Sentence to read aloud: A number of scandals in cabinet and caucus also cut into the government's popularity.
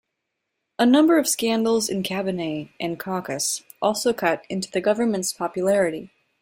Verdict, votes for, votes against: rejected, 1, 2